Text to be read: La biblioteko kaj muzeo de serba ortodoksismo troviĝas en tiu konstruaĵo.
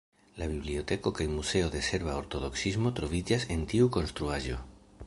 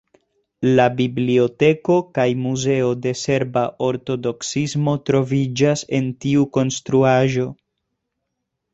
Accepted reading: second